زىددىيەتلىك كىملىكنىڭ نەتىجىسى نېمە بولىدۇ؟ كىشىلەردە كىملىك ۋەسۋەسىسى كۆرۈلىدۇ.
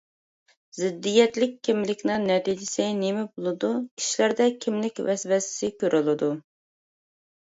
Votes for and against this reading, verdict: 2, 0, accepted